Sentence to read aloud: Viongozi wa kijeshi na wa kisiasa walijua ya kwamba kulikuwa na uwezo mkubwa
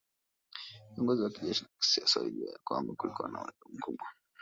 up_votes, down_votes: 1, 2